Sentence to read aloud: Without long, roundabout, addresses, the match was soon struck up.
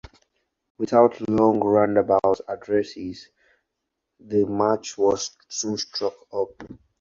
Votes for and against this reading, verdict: 4, 0, accepted